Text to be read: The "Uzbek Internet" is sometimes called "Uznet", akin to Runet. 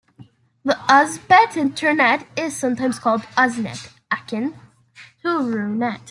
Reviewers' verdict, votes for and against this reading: rejected, 1, 2